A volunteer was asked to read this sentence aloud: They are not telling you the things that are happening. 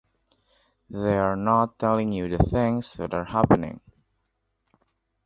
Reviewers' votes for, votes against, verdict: 2, 0, accepted